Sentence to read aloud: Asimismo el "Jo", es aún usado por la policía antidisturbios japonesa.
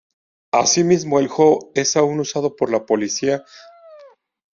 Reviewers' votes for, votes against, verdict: 0, 2, rejected